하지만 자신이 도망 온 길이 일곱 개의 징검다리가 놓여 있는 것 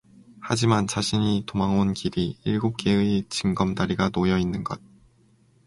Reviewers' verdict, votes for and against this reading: rejected, 2, 2